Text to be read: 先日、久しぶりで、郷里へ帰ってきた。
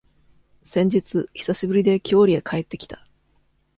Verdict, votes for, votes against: accepted, 2, 0